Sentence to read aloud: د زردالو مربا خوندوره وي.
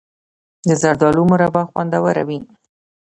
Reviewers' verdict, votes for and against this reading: accepted, 2, 0